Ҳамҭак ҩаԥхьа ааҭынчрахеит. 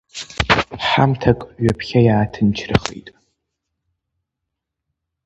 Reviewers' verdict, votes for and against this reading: rejected, 0, 2